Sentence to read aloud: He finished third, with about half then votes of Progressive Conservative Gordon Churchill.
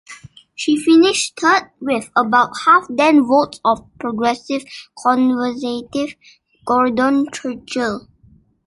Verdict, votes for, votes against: rejected, 0, 2